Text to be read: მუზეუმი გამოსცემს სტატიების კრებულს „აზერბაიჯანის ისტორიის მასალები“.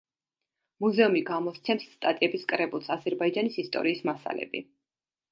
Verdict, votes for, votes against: accepted, 2, 0